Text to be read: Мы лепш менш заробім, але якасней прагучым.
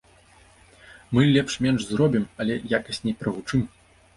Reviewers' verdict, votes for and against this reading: rejected, 1, 2